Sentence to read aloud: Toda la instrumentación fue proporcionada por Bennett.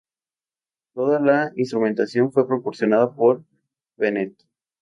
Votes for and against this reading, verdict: 2, 0, accepted